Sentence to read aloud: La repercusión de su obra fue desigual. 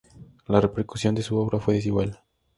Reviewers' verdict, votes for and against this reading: accepted, 2, 0